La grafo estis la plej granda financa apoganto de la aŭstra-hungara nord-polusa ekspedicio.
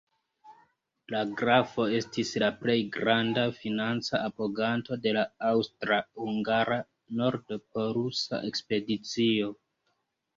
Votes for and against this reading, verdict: 0, 2, rejected